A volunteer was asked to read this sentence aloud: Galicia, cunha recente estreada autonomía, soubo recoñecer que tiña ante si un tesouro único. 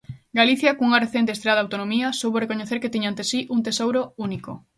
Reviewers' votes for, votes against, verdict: 2, 0, accepted